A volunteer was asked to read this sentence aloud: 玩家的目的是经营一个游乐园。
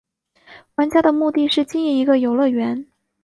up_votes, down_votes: 2, 0